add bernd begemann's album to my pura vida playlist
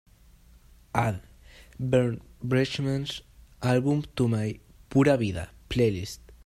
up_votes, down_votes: 1, 2